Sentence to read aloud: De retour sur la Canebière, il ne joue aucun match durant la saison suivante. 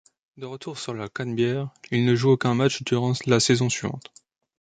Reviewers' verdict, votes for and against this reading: rejected, 1, 2